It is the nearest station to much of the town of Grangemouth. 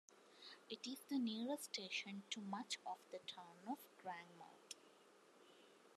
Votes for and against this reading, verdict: 2, 1, accepted